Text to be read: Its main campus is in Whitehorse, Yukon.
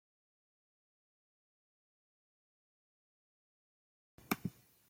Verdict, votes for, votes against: rejected, 0, 2